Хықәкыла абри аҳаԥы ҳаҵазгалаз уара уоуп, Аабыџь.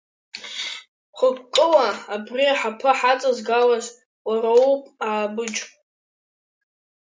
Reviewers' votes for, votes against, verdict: 2, 1, accepted